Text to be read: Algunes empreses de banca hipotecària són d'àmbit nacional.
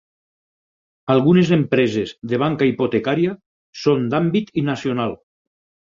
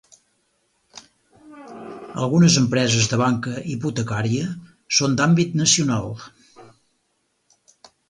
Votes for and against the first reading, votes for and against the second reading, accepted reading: 2, 4, 4, 0, second